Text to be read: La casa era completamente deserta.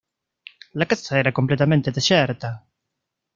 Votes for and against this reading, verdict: 0, 2, rejected